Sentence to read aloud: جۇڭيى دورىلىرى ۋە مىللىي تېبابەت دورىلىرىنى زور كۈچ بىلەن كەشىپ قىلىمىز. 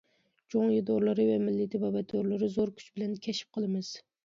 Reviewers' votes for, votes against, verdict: 1, 2, rejected